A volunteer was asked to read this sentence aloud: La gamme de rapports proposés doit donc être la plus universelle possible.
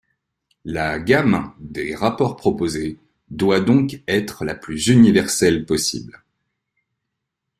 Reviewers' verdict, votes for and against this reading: rejected, 1, 2